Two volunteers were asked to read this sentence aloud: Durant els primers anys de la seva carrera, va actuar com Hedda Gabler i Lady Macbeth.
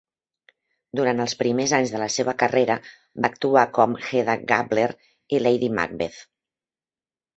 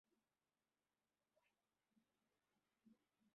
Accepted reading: first